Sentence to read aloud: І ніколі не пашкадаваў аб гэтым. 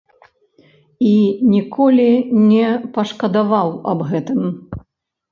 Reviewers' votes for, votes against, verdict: 3, 0, accepted